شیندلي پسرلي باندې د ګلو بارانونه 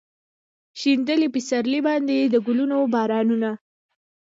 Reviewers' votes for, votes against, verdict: 1, 2, rejected